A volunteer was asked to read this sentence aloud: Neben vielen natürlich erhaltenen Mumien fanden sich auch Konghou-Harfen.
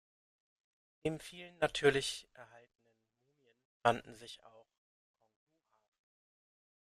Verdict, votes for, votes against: rejected, 0, 2